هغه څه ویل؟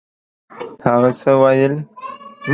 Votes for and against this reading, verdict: 2, 0, accepted